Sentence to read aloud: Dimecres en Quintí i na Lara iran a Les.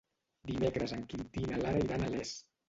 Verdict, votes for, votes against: rejected, 1, 2